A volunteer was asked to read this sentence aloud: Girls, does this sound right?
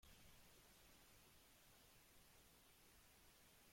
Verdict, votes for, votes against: rejected, 0, 2